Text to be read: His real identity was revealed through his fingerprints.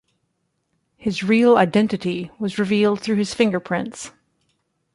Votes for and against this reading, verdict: 2, 0, accepted